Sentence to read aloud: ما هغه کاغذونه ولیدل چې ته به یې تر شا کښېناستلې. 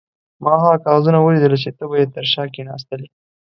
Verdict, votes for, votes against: accepted, 2, 0